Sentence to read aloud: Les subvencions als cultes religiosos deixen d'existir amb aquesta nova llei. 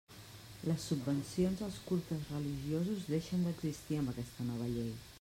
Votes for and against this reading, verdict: 1, 2, rejected